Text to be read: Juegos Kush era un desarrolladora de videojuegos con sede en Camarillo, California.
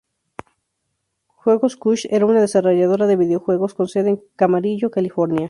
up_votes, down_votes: 0, 2